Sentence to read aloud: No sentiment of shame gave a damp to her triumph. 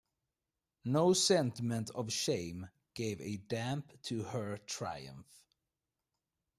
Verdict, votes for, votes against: accepted, 2, 0